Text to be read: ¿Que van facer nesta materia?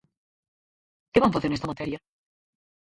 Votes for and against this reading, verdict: 0, 4, rejected